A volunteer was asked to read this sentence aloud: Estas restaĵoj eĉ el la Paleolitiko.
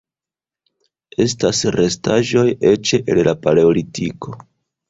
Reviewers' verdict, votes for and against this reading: accepted, 2, 0